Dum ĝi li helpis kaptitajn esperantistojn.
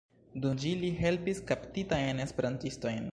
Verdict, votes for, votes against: rejected, 3, 4